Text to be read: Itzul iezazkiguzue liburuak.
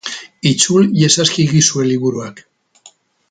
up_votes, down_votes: 2, 2